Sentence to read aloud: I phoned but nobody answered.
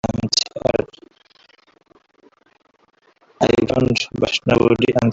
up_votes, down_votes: 0, 2